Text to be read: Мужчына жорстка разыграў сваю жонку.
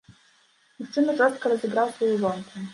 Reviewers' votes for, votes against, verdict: 1, 2, rejected